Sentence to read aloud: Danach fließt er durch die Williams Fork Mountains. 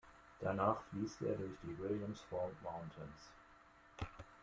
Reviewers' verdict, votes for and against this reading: accepted, 2, 1